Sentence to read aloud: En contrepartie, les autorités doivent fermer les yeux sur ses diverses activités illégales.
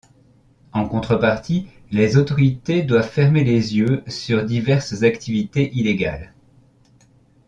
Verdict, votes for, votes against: accepted, 2, 1